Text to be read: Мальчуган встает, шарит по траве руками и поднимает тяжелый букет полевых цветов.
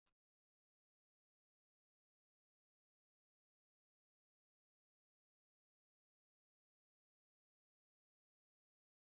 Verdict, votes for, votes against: rejected, 0, 2